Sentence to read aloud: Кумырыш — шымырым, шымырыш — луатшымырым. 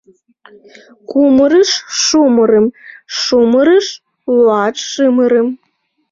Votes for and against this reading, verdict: 2, 1, accepted